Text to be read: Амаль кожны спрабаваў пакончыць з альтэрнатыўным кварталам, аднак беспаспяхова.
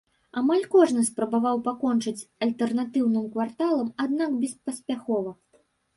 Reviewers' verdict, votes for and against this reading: rejected, 1, 2